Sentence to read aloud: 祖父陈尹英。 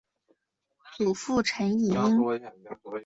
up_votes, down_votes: 0, 2